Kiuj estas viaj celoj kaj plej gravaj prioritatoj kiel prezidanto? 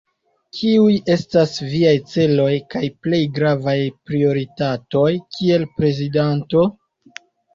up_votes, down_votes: 2, 0